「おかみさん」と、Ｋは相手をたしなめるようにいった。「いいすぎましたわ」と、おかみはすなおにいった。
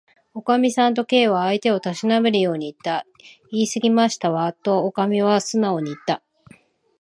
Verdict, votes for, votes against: accepted, 5, 0